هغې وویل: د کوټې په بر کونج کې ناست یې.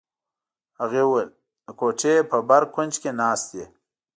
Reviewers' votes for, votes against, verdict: 2, 0, accepted